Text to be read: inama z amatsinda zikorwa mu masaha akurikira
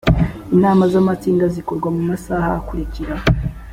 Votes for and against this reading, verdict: 2, 0, accepted